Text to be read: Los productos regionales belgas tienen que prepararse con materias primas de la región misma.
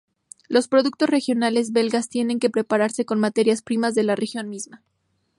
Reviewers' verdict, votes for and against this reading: accepted, 2, 0